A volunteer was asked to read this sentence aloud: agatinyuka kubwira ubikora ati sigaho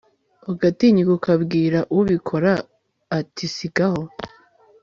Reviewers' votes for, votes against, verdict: 2, 0, accepted